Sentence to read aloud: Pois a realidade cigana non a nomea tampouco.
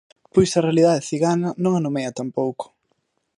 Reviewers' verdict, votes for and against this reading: accepted, 3, 0